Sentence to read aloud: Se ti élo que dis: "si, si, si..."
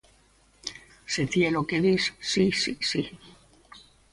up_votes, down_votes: 2, 0